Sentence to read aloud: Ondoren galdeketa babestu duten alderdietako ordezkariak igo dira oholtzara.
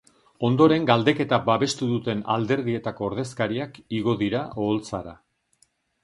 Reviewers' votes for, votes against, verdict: 2, 0, accepted